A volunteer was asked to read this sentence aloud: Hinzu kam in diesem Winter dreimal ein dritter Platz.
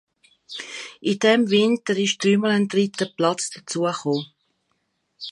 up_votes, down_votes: 0, 2